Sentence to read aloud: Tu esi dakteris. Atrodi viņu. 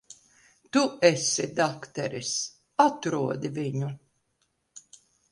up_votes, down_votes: 2, 0